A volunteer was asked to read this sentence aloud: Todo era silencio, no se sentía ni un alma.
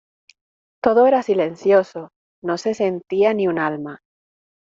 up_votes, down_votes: 0, 2